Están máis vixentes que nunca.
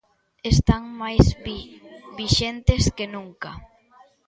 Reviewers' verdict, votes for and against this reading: rejected, 0, 2